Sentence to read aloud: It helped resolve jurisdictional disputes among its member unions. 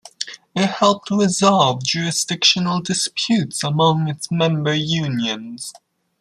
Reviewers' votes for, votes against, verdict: 2, 0, accepted